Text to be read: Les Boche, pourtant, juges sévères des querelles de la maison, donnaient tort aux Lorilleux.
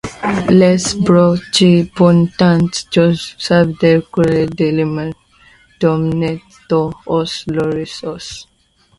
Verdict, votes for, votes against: rejected, 0, 2